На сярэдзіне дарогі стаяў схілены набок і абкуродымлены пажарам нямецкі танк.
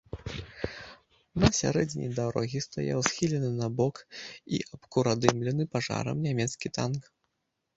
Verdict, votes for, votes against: rejected, 0, 2